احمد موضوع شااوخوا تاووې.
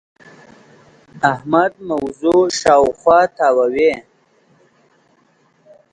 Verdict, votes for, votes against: accepted, 4, 0